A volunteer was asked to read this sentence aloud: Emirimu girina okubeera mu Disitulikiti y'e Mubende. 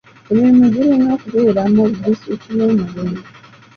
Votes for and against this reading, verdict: 1, 2, rejected